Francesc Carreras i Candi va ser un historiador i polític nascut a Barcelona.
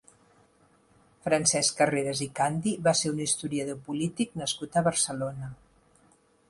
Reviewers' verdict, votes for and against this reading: accepted, 2, 0